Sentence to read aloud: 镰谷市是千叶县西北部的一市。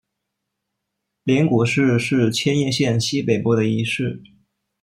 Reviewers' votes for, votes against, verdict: 1, 2, rejected